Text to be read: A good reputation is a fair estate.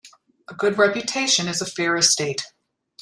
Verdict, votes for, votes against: accepted, 2, 0